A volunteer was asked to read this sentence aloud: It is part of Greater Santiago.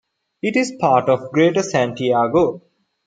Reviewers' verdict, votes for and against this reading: accepted, 2, 0